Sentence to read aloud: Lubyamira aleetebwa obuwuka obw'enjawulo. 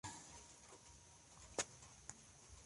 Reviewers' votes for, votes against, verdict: 1, 2, rejected